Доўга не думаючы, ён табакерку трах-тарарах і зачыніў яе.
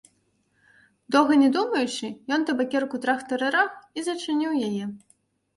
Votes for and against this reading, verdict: 0, 2, rejected